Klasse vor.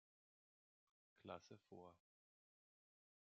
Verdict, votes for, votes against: rejected, 0, 2